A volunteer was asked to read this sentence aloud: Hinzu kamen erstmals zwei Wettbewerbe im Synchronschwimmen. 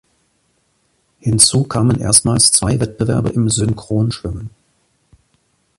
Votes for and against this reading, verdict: 2, 0, accepted